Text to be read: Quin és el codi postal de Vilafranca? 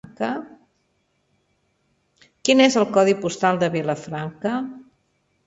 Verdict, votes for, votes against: rejected, 1, 2